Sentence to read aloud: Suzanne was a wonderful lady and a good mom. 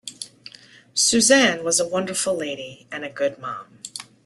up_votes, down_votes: 2, 0